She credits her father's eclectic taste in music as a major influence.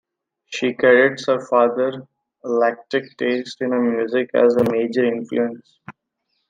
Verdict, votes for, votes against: rejected, 1, 2